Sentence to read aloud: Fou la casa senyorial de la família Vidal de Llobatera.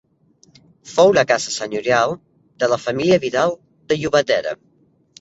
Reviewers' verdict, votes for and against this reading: accepted, 2, 0